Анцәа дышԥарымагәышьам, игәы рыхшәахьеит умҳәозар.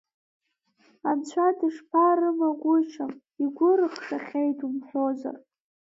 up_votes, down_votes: 2, 1